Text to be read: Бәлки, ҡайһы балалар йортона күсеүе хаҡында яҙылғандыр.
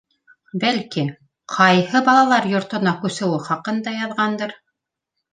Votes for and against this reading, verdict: 0, 2, rejected